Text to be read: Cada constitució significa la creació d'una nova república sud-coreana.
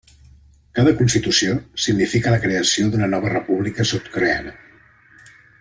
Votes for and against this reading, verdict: 1, 2, rejected